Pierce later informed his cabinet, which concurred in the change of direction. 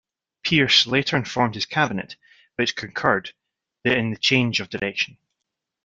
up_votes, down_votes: 1, 2